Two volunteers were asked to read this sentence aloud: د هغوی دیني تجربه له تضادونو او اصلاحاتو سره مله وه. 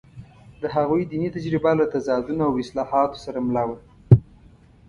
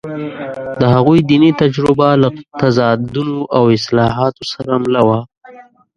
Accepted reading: first